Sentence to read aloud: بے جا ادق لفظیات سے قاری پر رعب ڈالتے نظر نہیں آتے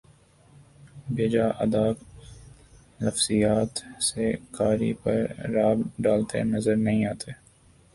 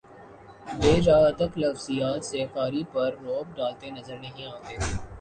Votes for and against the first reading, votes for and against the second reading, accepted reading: 3, 6, 2, 0, second